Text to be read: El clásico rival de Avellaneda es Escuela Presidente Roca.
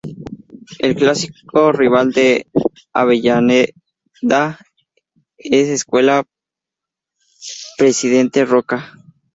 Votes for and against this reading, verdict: 2, 2, rejected